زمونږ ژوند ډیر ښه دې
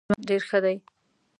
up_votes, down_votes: 1, 2